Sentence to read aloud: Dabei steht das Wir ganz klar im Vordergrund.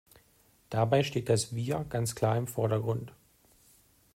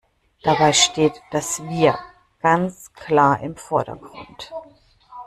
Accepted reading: first